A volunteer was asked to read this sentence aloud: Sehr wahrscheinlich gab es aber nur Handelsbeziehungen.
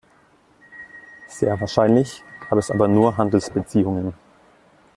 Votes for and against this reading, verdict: 2, 0, accepted